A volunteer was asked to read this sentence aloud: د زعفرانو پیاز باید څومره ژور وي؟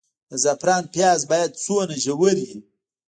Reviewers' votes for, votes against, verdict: 2, 1, accepted